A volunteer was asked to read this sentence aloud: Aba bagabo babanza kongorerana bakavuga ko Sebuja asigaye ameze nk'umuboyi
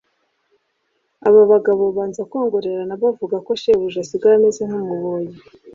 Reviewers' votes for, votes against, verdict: 2, 0, accepted